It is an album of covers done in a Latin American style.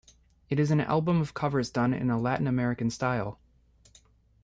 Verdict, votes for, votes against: accepted, 2, 0